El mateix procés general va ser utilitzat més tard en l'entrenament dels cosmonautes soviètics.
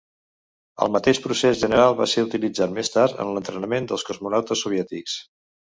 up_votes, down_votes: 3, 0